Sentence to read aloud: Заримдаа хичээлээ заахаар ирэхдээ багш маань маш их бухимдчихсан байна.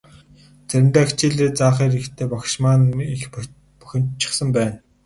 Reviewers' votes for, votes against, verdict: 2, 0, accepted